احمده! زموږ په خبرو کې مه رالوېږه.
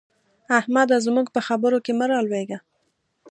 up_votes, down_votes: 2, 0